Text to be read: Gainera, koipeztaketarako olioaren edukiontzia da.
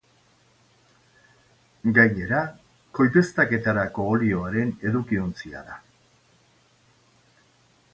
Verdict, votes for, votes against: accepted, 2, 0